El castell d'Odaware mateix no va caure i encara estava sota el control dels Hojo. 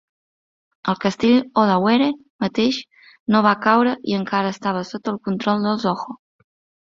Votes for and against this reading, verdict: 0, 2, rejected